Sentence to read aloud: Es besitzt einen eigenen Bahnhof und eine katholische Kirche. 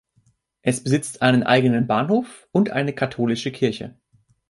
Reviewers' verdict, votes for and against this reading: accepted, 3, 0